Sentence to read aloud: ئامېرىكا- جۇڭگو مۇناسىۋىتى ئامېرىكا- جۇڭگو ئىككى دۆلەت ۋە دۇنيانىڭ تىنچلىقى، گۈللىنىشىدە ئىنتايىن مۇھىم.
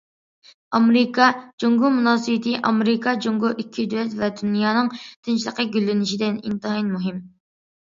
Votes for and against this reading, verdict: 2, 0, accepted